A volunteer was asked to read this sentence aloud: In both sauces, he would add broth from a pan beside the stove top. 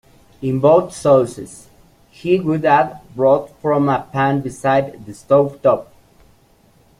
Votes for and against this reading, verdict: 2, 0, accepted